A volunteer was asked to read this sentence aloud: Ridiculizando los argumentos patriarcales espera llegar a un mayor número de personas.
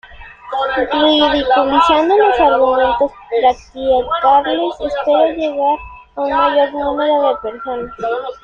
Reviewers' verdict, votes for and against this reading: accepted, 2, 1